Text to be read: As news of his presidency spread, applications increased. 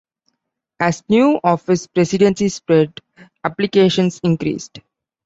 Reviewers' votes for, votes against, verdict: 2, 1, accepted